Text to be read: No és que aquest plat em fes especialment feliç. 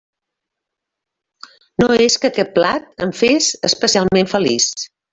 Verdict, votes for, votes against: accepted, 3, 0